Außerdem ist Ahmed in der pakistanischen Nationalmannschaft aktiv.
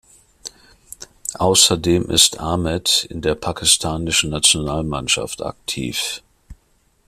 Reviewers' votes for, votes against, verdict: 2, 0, accepted